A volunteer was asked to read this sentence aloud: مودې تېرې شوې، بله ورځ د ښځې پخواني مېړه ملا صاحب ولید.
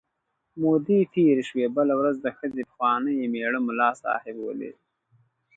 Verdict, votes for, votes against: accepted, 2, 0